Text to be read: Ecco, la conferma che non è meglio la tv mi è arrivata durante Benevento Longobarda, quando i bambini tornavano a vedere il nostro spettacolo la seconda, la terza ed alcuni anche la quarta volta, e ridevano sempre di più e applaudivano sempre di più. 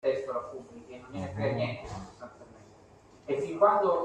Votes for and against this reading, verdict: 0, 2, rejected